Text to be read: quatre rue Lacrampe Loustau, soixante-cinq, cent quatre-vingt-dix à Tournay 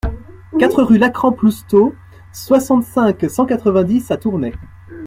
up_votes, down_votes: 2, 0